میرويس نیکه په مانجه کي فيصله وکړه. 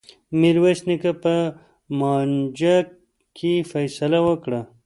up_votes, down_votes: 2, 0